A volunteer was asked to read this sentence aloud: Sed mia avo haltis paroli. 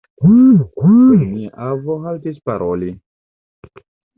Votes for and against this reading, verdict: 1, 2, rejected